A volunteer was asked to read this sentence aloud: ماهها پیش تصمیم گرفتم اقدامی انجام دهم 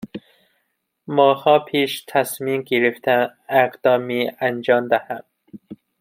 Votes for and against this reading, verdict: 1, 2, rejected